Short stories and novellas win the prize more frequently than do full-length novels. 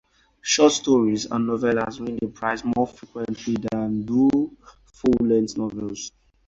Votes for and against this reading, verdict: 0, 4, rejected